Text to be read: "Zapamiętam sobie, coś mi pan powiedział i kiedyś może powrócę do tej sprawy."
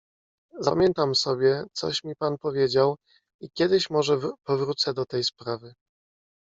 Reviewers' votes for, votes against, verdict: 1, 2, rejected